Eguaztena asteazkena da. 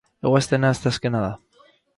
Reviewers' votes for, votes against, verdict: 4, 0, accepted